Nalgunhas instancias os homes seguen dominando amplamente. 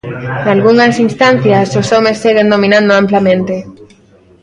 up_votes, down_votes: 1, 2